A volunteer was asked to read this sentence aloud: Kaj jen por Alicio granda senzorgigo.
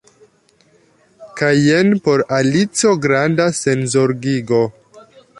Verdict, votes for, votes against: rejected, 1, 2